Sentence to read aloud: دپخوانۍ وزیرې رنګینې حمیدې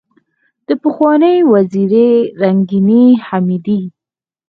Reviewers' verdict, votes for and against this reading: accepted, 4, 0